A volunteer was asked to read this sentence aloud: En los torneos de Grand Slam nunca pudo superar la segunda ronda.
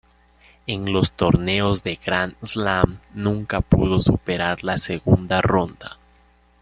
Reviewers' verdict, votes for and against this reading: rejected, 1, 2